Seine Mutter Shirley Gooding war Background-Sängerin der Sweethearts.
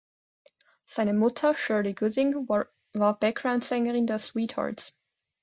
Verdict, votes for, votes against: rejected, 0, 2